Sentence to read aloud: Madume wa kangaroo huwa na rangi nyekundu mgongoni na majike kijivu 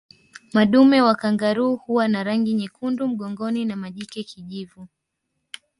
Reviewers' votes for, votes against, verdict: 2, 0, accepted